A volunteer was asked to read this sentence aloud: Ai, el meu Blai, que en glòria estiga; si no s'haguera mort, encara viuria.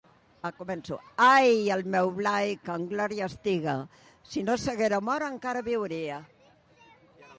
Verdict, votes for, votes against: rejected, 0, 2